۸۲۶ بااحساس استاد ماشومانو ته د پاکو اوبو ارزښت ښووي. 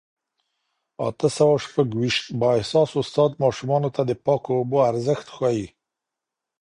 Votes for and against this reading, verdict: 0, 2, rejected